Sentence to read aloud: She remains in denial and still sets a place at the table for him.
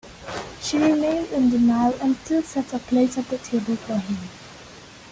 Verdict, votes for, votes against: rejected, 0, 2